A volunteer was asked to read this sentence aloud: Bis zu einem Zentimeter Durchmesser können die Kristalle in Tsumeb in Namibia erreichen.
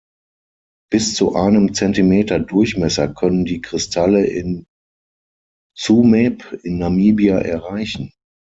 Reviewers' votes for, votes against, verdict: 0, 6, rejected